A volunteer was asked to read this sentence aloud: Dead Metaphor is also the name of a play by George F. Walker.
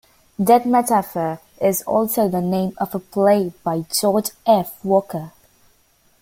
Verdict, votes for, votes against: accepted, 2, 1